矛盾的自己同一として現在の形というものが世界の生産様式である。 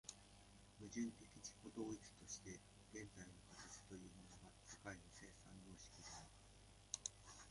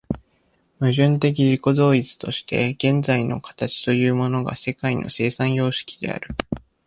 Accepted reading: second